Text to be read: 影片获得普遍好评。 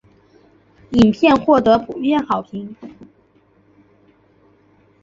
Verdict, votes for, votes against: accepted, 3, 0